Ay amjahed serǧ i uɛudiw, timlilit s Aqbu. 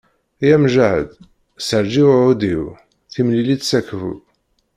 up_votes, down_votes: 0, 2